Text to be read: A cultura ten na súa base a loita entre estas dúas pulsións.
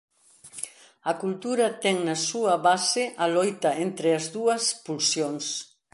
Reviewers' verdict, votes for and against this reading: rejected, 1, 2